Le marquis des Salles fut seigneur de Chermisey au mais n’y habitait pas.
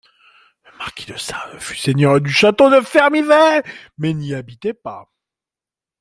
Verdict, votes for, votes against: rejected, 0, 2